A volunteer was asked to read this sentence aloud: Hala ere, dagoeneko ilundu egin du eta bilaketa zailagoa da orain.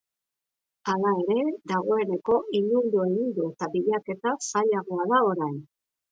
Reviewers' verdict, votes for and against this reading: accepted, 3, 0